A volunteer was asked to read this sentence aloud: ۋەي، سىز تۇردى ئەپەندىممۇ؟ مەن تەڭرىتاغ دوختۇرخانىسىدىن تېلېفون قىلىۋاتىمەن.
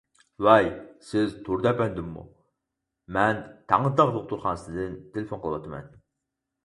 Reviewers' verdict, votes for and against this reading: rejected, 2, 4